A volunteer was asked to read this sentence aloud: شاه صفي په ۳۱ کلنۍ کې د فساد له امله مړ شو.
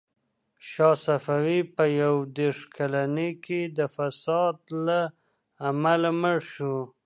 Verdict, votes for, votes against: rejected, 0, 2